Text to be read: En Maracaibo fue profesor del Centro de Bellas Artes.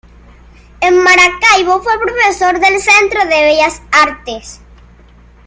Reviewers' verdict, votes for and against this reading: accepted, 2, 1